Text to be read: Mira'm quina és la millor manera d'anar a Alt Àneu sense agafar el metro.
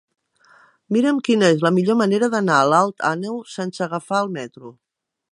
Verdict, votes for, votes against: accepted, 2, 1